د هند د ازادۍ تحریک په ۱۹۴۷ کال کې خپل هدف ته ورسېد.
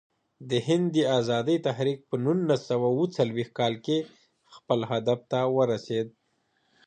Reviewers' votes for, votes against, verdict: 0, 2, rejected